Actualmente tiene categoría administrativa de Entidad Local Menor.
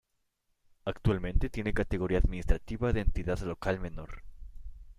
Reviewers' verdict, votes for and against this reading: accepted, 2, 0